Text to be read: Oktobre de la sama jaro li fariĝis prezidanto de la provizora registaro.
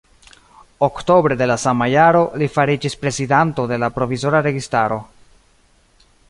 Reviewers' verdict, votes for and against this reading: rejected, 1, 2